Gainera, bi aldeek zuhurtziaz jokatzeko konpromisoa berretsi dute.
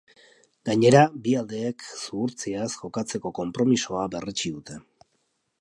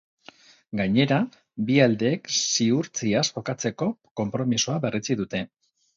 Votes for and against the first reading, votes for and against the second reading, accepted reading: 2, 0, 0, 2, first